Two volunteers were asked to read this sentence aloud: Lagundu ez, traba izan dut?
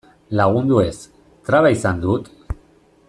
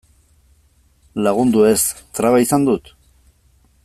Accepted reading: second